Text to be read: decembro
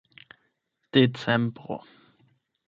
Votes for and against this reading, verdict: 4, 8, rejected